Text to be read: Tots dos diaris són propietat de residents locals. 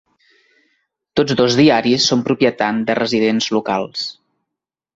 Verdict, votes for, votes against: accepted, 2, 0